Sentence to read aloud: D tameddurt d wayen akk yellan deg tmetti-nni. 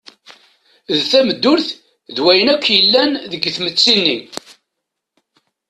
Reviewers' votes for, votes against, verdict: 0, 2, rejected